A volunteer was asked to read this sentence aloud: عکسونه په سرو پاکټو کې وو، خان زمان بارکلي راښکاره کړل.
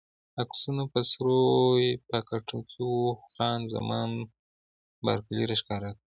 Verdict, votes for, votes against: accepted, 2, 0